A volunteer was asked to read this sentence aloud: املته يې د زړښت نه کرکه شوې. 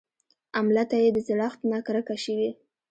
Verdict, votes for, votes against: rejected, 1, 2